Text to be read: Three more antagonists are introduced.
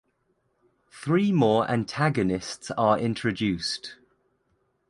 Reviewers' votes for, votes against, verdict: 2, 0, accepted